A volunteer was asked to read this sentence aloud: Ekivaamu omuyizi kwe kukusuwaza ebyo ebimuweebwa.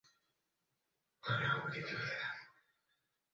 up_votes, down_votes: 0, 2